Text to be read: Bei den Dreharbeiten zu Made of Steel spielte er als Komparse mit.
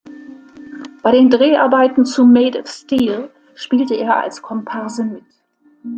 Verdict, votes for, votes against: accepted, 2, 0